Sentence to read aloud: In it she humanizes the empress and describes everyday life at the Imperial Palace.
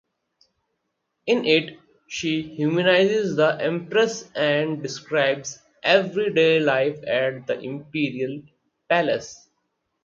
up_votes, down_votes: 4, 2